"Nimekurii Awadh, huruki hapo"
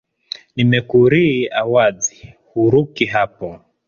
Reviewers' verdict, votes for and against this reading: rejected, 1, 2